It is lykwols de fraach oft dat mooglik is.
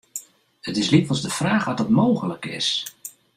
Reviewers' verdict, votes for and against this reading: accepted, 2, 0